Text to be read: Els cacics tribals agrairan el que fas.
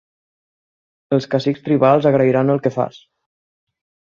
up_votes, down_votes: 6, 0